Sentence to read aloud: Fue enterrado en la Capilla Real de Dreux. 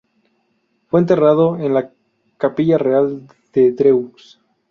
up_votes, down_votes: 0, 2